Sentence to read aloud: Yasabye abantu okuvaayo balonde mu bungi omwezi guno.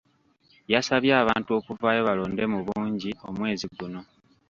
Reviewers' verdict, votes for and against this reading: rejected, 1, 2